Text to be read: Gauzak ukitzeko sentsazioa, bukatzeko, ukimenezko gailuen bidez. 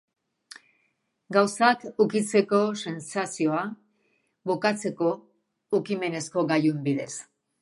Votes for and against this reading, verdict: 3, 0, accepted